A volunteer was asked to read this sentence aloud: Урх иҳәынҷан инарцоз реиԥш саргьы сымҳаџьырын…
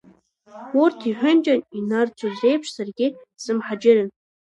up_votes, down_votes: 0, 2